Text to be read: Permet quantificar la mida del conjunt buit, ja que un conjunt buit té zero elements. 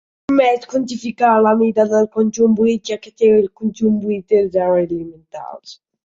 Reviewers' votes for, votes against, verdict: 0, 2, rejected